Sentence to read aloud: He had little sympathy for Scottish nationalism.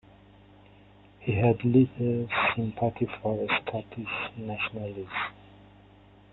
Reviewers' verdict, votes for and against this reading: rejected, 0, 2